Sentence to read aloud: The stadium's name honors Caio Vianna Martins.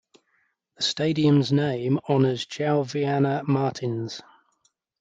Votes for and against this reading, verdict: 1, 2, rejected